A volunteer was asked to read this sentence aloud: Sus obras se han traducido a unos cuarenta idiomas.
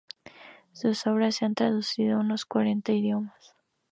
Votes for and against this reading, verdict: 2, 0, accepted